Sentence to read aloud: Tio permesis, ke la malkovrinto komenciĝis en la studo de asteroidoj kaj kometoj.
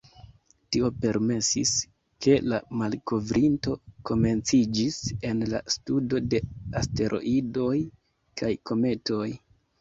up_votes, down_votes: 2, 0